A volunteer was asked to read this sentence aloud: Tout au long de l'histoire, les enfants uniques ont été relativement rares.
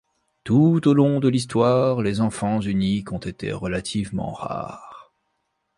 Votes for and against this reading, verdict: 2, 0, accepted